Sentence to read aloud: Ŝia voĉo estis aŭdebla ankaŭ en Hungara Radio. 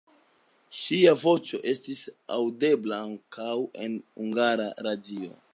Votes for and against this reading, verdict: 2, 0, accepted